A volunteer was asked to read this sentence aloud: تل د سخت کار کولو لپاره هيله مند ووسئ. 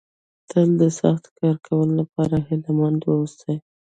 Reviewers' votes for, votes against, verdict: 1, 2, rejected